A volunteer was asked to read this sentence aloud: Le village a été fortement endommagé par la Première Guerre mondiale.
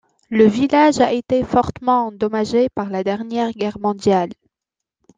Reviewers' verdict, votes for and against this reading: rejected, 0, 2